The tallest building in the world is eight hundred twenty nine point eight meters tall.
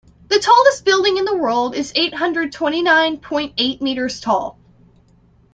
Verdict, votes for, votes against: accepted, 2, 0